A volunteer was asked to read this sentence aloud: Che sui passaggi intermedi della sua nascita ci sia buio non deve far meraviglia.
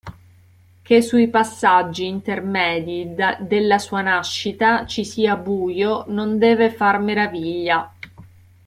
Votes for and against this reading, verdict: 0, 2, rejected